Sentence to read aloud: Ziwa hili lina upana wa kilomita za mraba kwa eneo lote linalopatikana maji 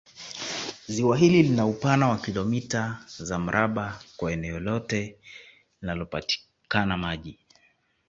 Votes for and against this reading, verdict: 2, 0, accepted